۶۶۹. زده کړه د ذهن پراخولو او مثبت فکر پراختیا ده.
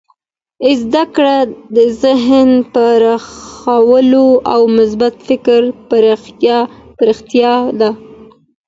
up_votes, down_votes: 0, 2